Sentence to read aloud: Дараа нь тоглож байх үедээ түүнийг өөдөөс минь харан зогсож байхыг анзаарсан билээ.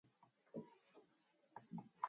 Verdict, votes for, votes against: rejected, 0, 2